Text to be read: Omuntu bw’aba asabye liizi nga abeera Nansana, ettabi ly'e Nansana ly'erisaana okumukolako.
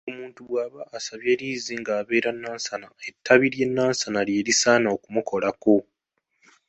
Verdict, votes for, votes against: accepted, 2, 0